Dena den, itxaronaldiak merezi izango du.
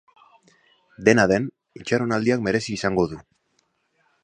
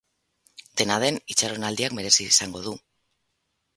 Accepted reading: first